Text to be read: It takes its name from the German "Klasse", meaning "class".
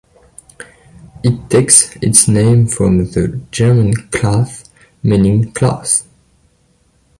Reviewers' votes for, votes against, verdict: 2, 1, accepted